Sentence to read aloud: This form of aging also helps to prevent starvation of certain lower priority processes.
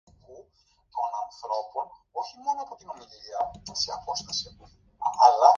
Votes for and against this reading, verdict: 0, 2, rejected